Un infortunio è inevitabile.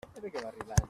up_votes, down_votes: 0, 2